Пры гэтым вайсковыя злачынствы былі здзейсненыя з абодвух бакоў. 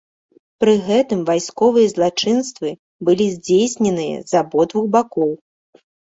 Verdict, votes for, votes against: accepted, 2, 0